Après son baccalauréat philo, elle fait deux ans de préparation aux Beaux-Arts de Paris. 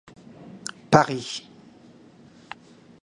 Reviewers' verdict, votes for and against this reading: rejected, 0, 2